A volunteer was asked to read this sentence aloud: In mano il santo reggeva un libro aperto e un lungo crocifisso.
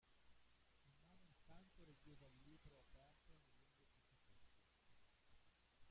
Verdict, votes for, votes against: rejected, 0, 2